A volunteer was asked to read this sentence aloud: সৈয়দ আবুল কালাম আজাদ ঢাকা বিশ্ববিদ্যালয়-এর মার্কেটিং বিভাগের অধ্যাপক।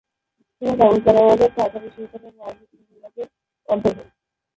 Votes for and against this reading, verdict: 0, 2, rejected